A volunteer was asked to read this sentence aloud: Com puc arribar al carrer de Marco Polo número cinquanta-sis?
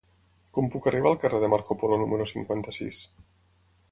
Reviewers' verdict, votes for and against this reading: accepted, 6, 0